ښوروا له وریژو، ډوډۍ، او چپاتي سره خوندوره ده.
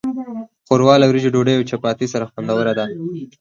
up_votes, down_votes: 4, 0